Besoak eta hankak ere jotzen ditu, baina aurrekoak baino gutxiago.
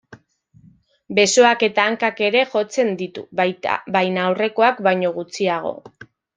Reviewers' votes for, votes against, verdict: 0, 2, rejected